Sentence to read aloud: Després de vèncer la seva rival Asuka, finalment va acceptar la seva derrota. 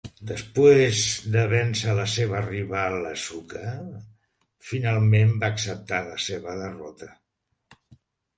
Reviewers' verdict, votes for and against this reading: rejected, 0, 2